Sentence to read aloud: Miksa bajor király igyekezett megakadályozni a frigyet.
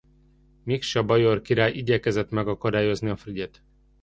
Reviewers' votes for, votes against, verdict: 2, 0, accepted